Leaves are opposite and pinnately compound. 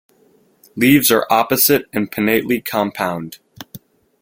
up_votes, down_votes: 2, 0